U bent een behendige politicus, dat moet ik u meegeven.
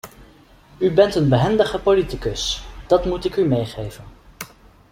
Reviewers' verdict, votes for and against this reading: accepted, 2, 0